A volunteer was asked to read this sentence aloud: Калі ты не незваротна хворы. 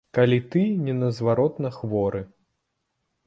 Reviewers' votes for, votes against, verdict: 1, 2, rejected